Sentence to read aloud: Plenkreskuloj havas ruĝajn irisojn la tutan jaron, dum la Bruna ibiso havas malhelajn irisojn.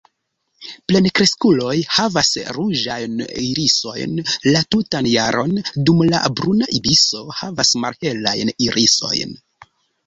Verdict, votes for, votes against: accepted, 2, 1